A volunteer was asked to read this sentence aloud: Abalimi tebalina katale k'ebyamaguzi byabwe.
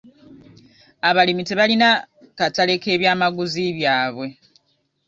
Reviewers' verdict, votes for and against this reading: rejected, 0, 2